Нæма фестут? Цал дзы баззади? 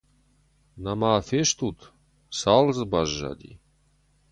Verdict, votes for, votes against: accepted, 4, 0